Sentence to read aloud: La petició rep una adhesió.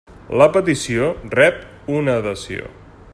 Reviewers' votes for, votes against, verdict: 3, 0, accepted